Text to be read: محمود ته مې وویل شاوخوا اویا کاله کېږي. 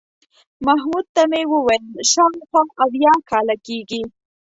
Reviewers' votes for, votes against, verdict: 2, 0, accepted